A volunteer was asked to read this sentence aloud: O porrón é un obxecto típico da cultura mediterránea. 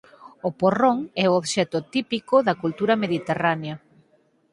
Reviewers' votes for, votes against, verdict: 2, 4, rejected